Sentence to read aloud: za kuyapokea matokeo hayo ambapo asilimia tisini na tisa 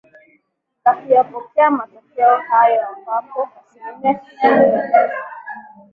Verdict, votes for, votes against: rejected, 0, 2